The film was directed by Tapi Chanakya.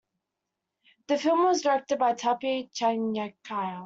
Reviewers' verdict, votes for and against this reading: rejected, 1, 2